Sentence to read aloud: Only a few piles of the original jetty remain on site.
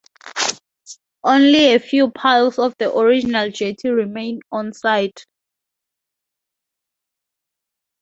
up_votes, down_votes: 2, 0